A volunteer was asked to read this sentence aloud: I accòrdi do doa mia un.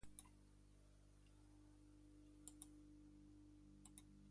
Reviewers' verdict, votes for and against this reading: rejected, 1, 2